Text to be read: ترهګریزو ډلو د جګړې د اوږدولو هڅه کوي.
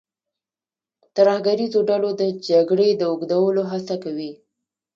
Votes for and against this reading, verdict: 0, 2, rejected